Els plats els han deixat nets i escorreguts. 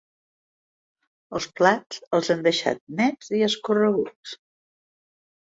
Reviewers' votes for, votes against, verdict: 2, 0, accepted